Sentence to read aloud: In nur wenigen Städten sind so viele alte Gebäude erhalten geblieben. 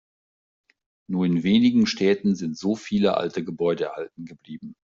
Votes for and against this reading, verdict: 1, 2, rejected